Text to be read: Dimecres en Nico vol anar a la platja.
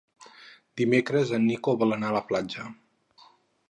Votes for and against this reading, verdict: 4, 0, accepted